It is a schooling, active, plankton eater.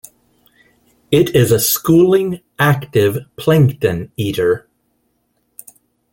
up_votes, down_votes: 2, 0